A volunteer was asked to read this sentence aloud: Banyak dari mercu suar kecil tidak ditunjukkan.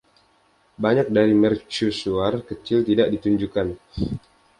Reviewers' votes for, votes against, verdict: 2, 0, accepted